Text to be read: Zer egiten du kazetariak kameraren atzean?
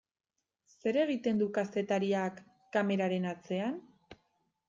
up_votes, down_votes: 2, 0